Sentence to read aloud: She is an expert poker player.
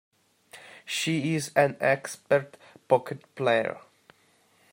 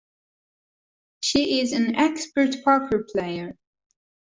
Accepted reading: second